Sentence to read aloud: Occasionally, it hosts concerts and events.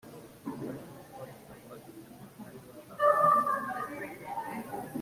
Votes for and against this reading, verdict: 0, 2, rejected